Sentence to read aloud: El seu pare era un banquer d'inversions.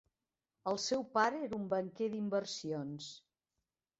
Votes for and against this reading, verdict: 3, 0, accepted